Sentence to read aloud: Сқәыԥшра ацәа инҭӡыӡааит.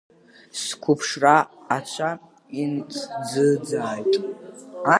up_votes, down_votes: 0, 2